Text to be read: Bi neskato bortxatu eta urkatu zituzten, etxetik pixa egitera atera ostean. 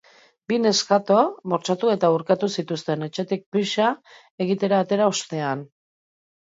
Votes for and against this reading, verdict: 2, 0, accepted